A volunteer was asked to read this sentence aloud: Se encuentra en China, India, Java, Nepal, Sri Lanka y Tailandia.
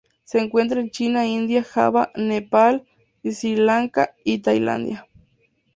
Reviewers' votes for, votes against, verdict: 4, 0, accepted